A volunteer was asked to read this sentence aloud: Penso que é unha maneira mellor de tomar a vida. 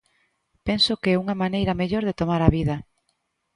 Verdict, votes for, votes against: accepted, 2, 0